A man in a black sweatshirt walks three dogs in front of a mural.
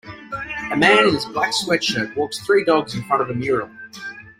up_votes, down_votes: 1, 2